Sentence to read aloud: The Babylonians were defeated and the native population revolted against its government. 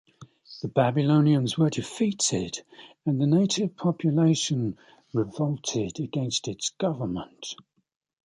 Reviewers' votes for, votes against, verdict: 2, 0, accepted